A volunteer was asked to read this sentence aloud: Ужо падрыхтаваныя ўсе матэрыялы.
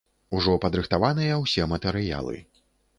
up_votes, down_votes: 2, 0